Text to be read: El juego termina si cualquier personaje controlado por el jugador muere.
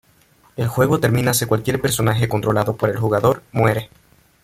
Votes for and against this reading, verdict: 0, 2, rejected